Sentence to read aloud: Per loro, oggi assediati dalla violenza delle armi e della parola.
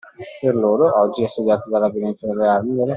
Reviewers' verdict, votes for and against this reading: rejected, 0, 2